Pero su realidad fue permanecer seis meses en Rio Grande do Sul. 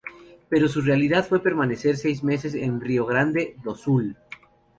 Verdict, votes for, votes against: accepted, 4, 0